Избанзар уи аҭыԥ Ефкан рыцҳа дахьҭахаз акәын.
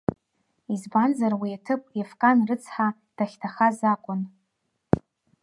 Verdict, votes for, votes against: accepted, 2, 1